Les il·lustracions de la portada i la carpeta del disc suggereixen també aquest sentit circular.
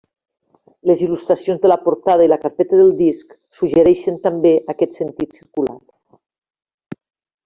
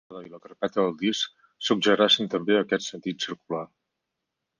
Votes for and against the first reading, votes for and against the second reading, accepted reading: 2, 1, 0, 4, first